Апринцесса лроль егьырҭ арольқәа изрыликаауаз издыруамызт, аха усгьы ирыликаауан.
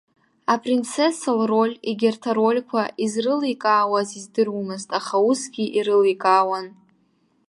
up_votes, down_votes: 2, 0